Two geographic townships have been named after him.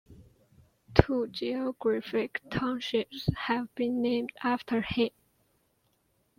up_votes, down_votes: 2, 0